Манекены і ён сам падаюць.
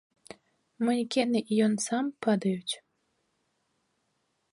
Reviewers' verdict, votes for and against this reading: accepted, 2, 0